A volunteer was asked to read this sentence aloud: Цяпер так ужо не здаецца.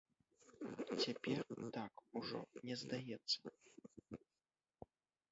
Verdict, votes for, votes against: rejected, 1, 2